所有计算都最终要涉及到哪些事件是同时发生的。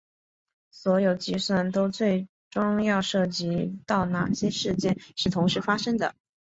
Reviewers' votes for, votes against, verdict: 4, 0, accepted